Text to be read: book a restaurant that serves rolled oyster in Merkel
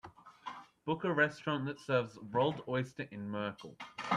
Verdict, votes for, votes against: accepted, 2, 0